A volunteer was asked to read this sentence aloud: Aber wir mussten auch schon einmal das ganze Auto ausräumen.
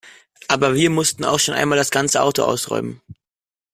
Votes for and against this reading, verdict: 2, 0, accepted